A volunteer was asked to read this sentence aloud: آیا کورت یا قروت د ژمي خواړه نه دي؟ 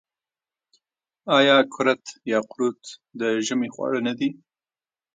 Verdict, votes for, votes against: rejected, 1, 2